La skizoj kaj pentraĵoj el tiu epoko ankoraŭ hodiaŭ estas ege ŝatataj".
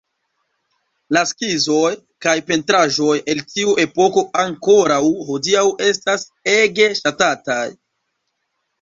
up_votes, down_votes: 1, 2